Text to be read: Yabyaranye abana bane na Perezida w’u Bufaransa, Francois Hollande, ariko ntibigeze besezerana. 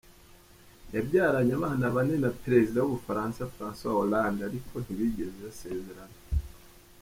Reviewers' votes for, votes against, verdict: 2, 3, rejected